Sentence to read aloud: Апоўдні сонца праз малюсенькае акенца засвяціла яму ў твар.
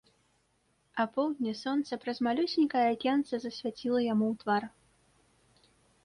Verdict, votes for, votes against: accepted, 2, 0